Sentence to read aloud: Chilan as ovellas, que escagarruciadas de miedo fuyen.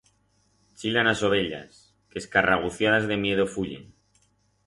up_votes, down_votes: 2, 4